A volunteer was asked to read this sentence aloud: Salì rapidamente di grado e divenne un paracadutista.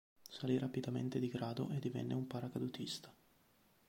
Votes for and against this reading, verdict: 2, 0, accepted